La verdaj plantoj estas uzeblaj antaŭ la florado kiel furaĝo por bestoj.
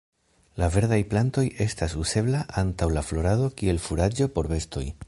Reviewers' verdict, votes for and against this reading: rejected, 1, 2